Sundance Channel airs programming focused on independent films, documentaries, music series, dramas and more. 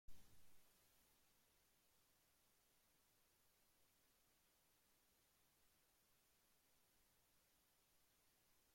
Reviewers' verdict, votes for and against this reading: rejected, 0, 2